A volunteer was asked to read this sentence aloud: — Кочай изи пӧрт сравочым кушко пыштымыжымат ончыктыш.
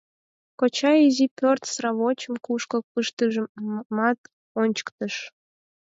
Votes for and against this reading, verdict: 0, 4, rejected